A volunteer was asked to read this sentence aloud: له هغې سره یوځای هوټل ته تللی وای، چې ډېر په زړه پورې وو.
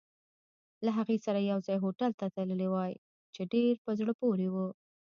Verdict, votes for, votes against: rejected, 0, 2